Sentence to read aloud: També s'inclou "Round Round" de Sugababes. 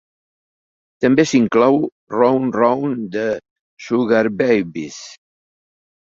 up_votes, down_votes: 2, 1